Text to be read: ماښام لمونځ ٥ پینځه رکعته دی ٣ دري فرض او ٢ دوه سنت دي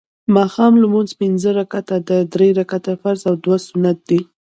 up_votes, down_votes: 0, 2